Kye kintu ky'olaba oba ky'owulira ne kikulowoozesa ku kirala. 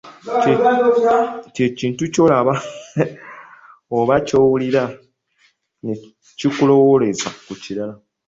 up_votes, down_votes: 0, 2